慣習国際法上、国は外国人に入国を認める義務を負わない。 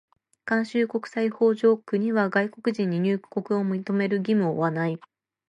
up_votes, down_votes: 2, 1